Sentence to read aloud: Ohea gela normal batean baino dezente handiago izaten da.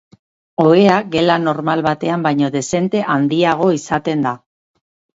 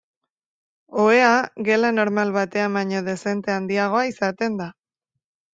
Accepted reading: first